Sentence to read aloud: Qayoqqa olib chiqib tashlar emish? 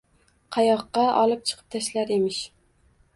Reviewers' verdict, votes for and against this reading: accepted, 2, 1